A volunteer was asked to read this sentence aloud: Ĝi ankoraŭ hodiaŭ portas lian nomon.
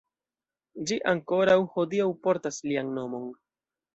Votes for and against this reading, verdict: 2, 0, accepted